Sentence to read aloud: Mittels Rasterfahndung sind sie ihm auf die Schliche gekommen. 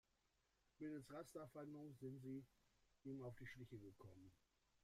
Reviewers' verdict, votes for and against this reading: rejected, 0, 4